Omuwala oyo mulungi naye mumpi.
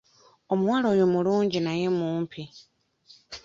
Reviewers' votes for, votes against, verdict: 2, 0, accepted